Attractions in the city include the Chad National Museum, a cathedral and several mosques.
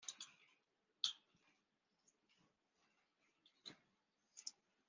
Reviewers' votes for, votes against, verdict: 1, 2, rejected